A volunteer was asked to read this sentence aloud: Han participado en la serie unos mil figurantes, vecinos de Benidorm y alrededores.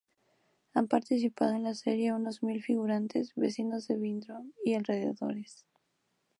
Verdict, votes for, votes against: rejected, 0, 2